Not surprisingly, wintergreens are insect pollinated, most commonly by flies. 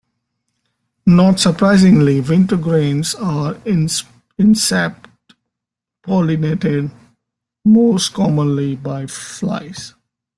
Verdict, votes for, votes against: accepted, 2, 1